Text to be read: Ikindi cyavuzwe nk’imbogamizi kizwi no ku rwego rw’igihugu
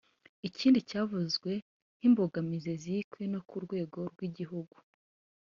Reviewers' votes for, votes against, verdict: 3, 1, accepted